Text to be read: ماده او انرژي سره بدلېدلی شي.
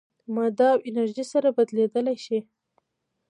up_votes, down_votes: 2, 1